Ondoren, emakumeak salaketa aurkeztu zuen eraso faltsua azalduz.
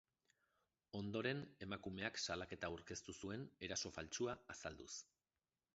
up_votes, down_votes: 2, 0